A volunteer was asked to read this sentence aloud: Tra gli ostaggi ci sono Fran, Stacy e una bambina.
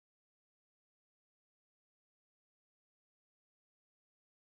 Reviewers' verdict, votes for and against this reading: rejected, 1, 2